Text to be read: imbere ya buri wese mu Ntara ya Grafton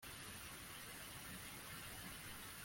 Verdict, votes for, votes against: rejected, 0, 2